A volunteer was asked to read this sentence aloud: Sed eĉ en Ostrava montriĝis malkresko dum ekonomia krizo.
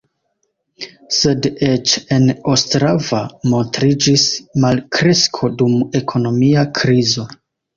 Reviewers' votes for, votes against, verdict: 2, 0, accepted